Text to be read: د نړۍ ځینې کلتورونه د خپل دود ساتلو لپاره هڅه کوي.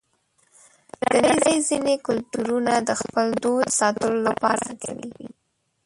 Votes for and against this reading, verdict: 1, 2, rejected